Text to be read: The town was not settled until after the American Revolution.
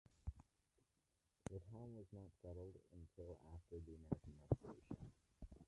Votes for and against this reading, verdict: 0, 2, rejected